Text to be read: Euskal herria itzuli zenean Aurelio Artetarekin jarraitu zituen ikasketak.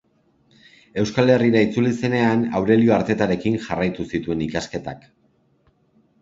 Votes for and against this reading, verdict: 0, 2, rejected